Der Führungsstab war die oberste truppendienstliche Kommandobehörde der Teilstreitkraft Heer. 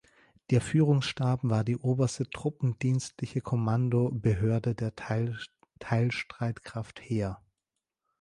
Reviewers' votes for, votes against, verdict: 0, 2, rejected